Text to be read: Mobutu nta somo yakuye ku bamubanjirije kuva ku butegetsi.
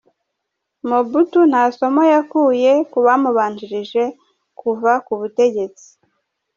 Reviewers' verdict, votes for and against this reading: rejected, 1, 2